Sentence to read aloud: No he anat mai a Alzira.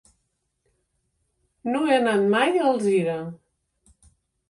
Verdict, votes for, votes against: accepted, 2, 0